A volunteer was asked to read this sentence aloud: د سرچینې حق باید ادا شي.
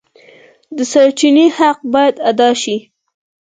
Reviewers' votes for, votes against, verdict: 4, 0, accepted